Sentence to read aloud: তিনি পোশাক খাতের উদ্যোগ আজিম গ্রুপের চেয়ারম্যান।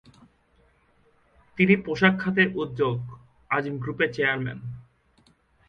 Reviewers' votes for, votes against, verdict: 2, 0, accepted